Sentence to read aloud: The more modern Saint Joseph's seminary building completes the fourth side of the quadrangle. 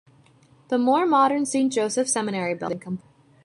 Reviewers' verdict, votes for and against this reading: rejected, 1, 2